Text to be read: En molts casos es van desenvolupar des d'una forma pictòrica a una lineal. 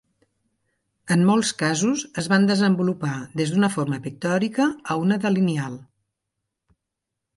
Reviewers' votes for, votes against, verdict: 0, 2, rejected